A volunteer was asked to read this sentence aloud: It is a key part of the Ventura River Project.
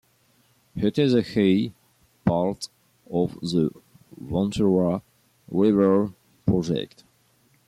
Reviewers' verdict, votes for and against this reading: accepted, 2, 0